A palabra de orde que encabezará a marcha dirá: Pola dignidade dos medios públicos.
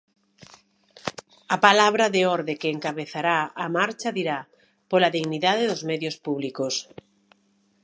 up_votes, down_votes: 2, 0